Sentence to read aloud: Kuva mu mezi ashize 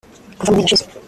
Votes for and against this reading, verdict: 0, 2, rejected